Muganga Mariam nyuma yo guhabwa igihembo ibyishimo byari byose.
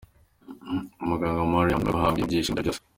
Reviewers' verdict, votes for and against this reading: rejected, 0, 2